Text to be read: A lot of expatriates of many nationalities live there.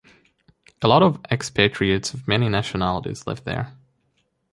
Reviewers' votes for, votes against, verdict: 0, 2, rejected